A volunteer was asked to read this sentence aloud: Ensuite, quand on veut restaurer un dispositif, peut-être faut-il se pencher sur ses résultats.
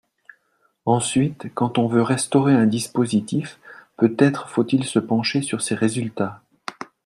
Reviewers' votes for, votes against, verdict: 2, 0, accepted